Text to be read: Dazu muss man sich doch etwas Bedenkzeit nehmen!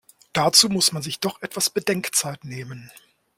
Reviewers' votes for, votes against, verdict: 2, 0, accepted